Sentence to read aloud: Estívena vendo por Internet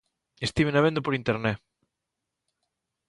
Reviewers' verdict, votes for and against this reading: accepted, 2, 0